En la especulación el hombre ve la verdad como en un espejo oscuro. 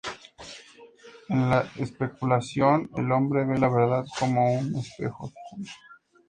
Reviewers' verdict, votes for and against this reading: rejected, 0, 2